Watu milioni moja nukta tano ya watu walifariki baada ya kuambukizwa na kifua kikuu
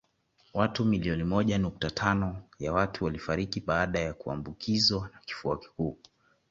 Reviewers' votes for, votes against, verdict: 2, 0, accepted